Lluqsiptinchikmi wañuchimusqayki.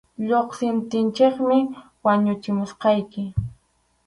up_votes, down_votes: 2, 2